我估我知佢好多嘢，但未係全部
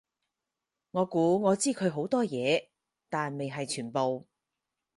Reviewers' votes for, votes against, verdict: 4, 0, accepted